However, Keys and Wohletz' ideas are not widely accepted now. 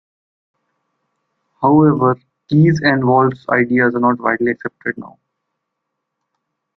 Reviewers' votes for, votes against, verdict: 2, 0, accepted